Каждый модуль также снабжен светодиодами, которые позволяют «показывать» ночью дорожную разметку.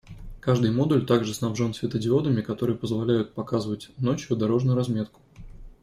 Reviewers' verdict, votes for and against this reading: accepted, 2, 0